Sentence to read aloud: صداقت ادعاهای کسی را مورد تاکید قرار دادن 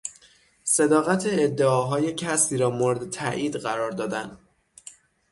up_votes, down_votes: 3, 6